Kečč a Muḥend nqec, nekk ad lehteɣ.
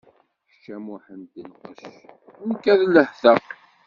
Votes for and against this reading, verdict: 2, 1, accepted